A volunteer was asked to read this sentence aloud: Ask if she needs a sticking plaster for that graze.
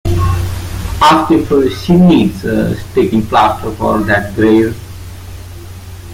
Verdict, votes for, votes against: rejected, 0, 3